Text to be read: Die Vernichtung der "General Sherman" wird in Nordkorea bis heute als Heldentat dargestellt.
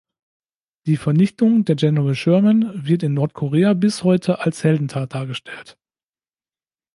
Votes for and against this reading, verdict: 2, 0, accepted